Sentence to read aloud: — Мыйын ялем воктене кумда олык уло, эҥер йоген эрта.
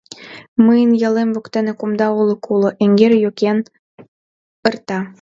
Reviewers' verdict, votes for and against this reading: rejected, 1, 2